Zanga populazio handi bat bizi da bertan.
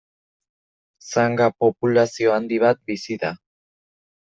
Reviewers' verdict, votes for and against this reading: rejected, 0, 2